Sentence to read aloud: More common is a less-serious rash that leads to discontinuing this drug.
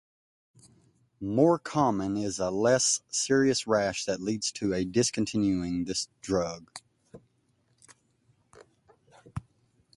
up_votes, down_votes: 0, 2